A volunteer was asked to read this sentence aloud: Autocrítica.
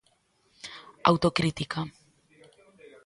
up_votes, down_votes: 2, 0